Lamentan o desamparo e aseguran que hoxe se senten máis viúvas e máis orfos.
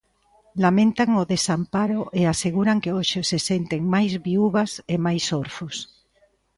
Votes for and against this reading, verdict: 2, 0, accepted